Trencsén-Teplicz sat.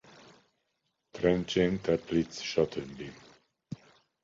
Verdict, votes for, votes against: rejected, 0, 2